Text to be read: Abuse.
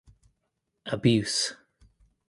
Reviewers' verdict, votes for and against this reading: accepted, 2, 1